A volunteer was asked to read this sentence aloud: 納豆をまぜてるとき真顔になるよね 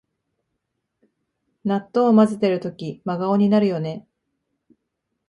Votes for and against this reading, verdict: 6, 1, accepted